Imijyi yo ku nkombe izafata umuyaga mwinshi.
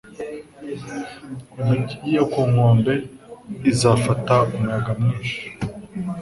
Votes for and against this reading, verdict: 2, 0, accepted